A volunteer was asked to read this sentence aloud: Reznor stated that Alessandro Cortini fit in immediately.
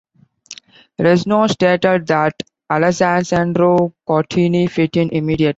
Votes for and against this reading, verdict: 0, 2, rejected